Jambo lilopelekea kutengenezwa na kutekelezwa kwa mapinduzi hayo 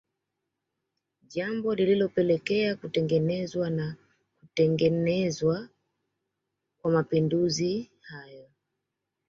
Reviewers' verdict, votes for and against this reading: rejected, 1, 2